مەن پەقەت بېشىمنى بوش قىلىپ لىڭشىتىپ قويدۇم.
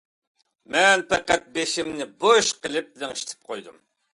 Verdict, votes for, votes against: accepted, 2, 0